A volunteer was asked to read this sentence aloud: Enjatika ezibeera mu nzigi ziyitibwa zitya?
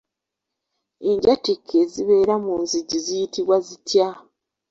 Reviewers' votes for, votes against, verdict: 0, 2, rejected